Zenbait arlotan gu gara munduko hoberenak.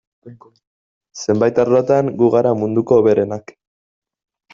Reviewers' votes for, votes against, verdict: 2, 0, accepted